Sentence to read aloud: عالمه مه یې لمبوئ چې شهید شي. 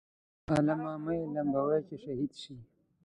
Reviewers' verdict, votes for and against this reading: rejected, 0, 2